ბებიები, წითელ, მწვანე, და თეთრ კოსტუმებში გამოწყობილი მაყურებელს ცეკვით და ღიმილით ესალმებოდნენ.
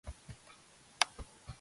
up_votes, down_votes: 1, 2